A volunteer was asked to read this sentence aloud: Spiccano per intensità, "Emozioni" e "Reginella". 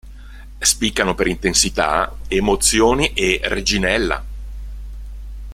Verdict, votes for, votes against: accepted, 5, 0